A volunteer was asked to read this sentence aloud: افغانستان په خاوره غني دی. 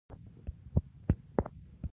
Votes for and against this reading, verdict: 2, 1, accepted